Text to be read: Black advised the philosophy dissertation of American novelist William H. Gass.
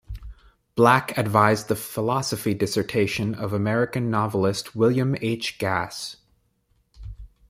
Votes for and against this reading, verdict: 1, 2, rejected